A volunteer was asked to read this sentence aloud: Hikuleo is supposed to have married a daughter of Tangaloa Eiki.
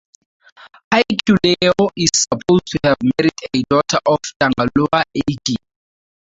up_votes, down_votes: 0, 2